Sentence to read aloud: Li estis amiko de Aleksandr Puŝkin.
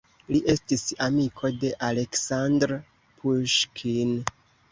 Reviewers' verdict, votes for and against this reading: accepted, 2, 1